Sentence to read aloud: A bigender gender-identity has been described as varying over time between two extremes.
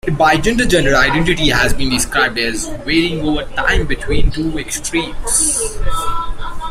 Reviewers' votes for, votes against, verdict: 1, 2, rejected